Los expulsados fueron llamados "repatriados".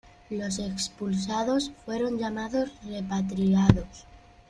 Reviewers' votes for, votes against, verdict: 2, 0, accepted